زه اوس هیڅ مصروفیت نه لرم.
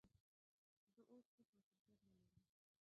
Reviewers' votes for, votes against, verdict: 0, 2, rejected